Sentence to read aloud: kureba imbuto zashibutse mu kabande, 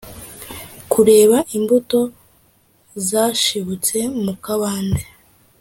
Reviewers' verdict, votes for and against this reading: accepted, 2, 0